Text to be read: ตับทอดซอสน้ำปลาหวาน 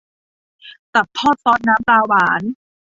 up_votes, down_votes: 2, 0